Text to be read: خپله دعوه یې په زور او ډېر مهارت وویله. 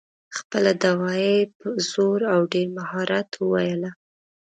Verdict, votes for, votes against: accepted, 2, 0